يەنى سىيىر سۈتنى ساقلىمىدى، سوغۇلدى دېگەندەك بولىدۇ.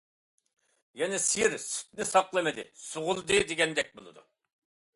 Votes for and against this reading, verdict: 2, 0, accepted